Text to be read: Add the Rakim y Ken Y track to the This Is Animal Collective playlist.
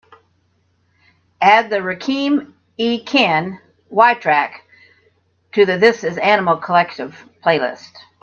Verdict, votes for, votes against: accepted, 2, 0